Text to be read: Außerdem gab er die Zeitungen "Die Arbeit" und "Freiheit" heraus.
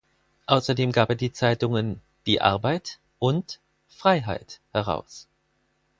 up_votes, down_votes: 4, 0